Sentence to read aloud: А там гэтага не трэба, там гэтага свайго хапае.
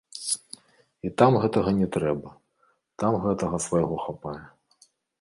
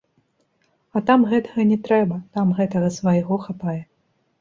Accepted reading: second